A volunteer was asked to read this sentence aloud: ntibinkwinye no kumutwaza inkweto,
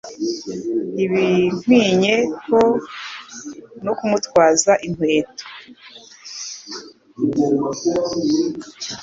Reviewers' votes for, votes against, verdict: 2, 0, accepted